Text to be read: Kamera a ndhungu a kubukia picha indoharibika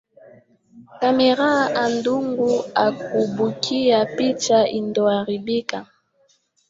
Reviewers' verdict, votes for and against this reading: rejected, 0, 2